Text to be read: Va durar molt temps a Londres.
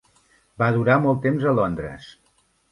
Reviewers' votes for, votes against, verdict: 3, 0, accepted